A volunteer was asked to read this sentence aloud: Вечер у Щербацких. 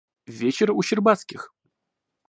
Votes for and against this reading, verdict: 2, 0, accepted